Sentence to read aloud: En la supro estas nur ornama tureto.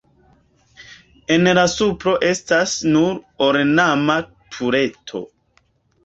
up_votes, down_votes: 2, 1